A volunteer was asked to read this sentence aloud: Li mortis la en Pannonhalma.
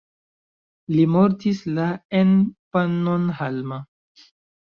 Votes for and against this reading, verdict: 2, 0, accepted